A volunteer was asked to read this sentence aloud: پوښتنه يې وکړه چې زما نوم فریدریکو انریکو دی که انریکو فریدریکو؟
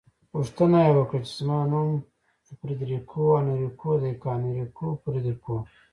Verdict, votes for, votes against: accepted, 2, 0